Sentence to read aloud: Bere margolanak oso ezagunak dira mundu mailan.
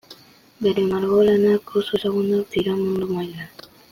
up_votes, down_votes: 2, 0